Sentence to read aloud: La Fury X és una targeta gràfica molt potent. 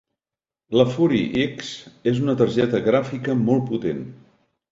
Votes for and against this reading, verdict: 2, 0, accepted